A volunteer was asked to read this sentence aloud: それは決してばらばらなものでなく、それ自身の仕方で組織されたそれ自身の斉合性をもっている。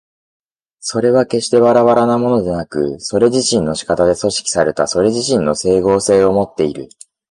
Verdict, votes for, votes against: accepted, 2, 0